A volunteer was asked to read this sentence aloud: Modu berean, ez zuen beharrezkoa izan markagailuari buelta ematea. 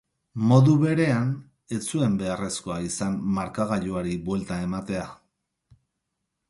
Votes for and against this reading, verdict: 4, 0, accepted